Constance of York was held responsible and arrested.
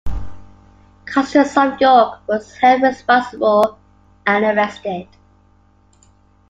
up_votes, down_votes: 1, 2